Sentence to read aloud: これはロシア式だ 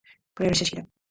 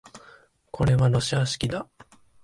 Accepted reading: second